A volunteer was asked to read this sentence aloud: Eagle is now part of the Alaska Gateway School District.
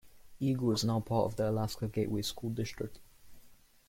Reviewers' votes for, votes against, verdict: 2, 0, accepted